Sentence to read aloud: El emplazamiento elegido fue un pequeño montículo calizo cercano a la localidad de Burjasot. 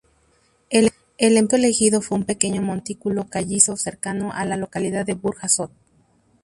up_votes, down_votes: 0, 2